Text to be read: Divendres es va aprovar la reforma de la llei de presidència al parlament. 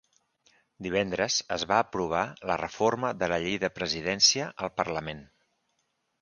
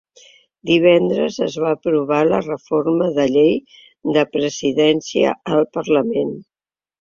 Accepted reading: first